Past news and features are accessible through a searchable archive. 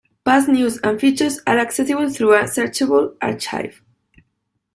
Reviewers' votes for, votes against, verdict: 2, 0, accepted